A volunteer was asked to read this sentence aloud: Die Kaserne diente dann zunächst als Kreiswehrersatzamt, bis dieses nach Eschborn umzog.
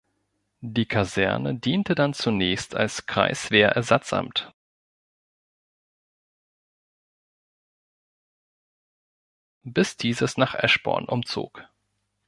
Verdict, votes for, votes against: rejected, 1, 2